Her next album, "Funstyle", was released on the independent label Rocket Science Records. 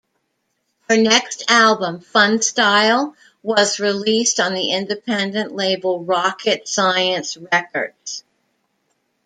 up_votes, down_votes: 2, 1